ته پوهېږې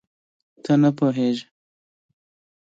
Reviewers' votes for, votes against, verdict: 2, 1, accepted